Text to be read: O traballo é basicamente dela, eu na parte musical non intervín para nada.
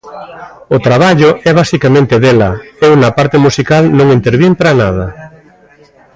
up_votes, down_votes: 1, 2